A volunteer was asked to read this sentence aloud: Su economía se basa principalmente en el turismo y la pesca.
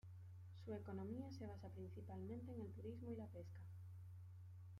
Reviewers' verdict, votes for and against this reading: rejected, 0, 2